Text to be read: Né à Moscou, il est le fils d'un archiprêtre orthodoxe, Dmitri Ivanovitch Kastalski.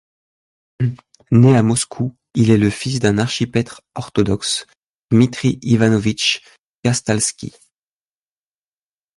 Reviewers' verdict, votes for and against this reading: rejected, 0, 2